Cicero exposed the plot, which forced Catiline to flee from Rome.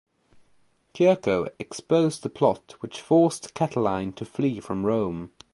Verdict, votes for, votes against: rejected, 1, 2